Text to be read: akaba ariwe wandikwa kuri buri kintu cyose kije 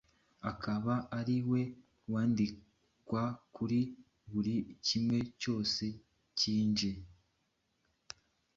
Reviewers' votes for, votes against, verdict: 1, 2, rejected